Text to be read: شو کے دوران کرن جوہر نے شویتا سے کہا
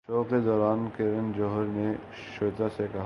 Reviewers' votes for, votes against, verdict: 0, 2, rejected